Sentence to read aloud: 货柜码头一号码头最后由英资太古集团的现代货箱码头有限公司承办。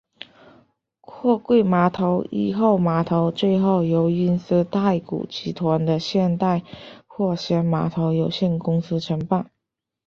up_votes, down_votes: 3, 4